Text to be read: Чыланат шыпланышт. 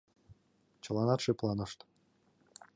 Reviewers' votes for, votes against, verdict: 2, 0, accepted